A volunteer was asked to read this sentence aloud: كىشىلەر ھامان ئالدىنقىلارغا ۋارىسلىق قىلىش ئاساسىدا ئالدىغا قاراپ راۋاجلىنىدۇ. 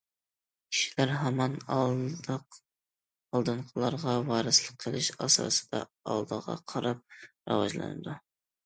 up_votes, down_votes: 0, 2